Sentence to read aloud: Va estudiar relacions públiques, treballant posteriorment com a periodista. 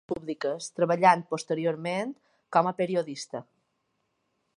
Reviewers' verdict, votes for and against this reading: rejected, 0, 2